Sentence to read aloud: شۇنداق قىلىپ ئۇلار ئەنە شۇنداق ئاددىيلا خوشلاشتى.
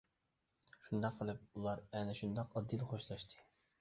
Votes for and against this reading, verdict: 2, 0, accepted